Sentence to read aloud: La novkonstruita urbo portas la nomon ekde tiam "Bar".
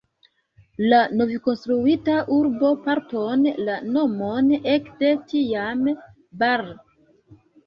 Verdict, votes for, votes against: rejected, 1, 2